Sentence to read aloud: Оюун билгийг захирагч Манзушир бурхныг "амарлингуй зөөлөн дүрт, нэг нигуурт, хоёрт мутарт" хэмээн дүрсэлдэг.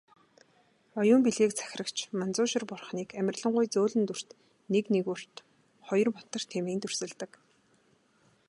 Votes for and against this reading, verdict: 3, 0, accepted